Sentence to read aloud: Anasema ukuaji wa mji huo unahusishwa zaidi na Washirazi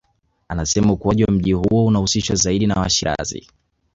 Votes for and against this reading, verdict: 2, 0, accepted